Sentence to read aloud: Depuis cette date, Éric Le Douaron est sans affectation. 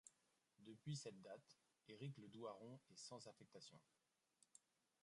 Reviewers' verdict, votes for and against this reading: rejected, 0, 2